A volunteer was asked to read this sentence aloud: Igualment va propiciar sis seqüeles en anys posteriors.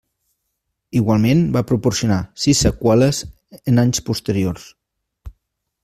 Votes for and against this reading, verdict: 0, 2, rejected